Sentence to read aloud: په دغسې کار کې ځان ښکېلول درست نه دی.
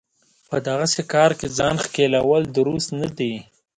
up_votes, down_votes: 2, 0